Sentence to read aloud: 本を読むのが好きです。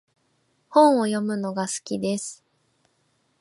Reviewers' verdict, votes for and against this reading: accepted, 3, 0